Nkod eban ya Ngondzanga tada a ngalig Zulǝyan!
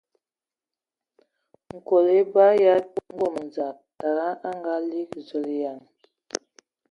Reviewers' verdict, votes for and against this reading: rejected, 1, 2